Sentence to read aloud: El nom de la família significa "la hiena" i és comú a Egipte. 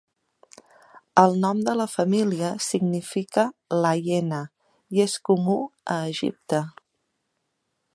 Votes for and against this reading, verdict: 2, 0, accepted